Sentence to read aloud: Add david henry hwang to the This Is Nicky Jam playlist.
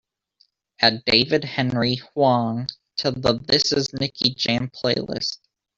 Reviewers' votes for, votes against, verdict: 0, 2, rejected